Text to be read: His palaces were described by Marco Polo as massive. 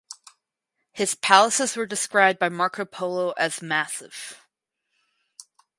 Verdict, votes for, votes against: accepted, 4, 0